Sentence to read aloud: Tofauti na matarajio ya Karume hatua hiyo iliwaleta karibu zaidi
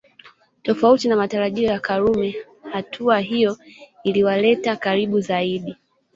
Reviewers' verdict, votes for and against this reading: rejected, 0, 2